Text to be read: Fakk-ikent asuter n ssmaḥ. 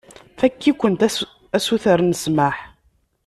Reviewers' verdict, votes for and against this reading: rejected, 0, 2